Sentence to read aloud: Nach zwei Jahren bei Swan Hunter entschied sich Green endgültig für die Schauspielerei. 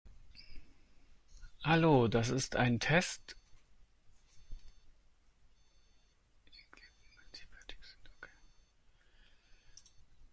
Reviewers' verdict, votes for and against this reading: rejected, 0, 2